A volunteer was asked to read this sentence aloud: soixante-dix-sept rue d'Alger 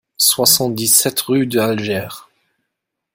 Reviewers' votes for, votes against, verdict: 0, 2, rejected